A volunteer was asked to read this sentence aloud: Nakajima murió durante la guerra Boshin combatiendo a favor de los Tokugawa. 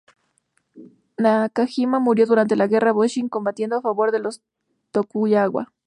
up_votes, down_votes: 0, 2